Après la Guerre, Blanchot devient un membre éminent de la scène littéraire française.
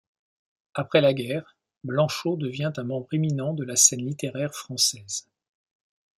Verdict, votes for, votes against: accepted, 2, 0